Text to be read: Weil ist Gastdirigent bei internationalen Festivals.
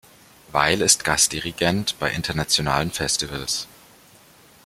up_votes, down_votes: 2, 0